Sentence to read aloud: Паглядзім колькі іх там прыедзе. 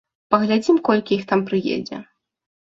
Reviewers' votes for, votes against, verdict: 2, 0, accepted